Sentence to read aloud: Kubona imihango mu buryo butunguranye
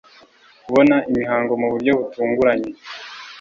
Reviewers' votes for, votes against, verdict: 2, 0, accepted